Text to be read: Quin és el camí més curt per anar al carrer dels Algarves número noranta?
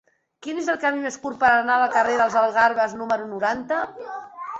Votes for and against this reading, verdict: 3, 0, accepted